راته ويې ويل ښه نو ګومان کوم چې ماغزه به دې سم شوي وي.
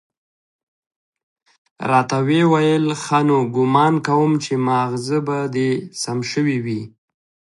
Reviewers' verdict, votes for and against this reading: rejected, 1, 2